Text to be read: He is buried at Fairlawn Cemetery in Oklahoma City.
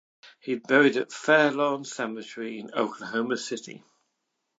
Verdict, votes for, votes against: rejected, 1, 2